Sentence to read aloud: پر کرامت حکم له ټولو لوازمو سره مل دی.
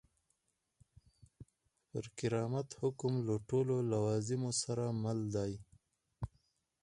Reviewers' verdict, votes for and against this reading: rejected, 2, 4